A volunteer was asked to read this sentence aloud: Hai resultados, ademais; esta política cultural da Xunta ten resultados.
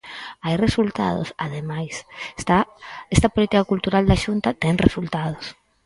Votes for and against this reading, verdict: 0, 4, rejected